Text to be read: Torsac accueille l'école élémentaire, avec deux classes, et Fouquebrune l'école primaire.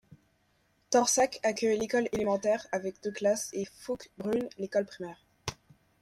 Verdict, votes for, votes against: rejected, 1, 2